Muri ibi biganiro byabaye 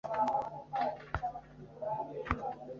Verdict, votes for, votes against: rejected, 2, 3